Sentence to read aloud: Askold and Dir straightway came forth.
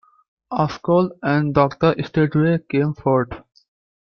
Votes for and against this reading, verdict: 0, 3, rejected